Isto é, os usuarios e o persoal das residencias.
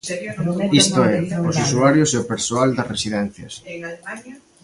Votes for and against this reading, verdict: 1, 2, rejected